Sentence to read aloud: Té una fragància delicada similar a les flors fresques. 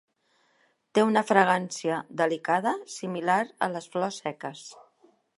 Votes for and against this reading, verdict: 0, 2, rejected